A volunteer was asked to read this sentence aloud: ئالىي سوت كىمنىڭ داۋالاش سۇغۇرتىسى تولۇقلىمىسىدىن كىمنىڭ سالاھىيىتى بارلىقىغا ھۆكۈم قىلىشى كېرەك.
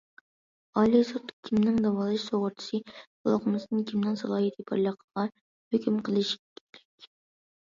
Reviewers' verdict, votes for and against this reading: rejected, 0, 2